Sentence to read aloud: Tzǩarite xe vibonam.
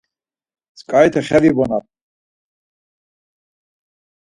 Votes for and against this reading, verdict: 4, 0, accepted